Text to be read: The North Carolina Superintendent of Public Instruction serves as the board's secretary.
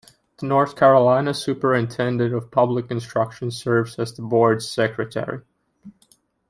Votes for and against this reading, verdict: 2, 0, accepted